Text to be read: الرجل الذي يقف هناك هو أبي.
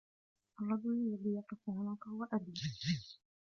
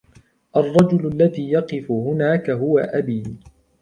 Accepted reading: second